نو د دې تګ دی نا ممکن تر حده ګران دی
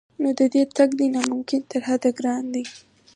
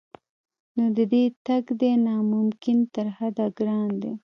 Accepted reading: first